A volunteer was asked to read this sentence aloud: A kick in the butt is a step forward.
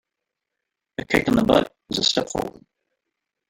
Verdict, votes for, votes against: rejected, 0, 2